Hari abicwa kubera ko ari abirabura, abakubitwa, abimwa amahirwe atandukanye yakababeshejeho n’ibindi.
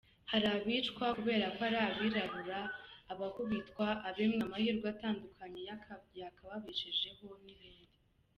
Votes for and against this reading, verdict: 1, 2, rejected